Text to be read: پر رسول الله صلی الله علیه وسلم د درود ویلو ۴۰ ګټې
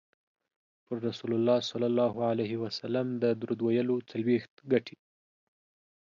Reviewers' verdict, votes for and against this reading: rejected, 0, 2